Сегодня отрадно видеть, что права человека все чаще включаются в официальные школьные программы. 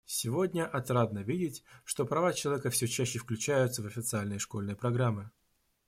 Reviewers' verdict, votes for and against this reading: rejected, 1, 2